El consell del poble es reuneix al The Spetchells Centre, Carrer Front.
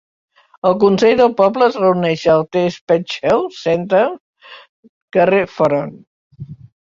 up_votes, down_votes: 1, 2